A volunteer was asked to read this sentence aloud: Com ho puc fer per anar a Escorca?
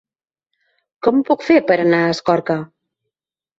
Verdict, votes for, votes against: accepted, 3, 0